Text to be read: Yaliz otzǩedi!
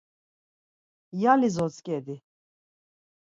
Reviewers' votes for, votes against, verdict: 4, 0, accepted